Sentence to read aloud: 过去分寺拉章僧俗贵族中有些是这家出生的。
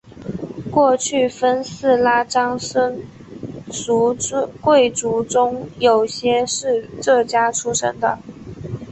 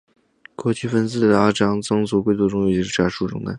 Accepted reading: first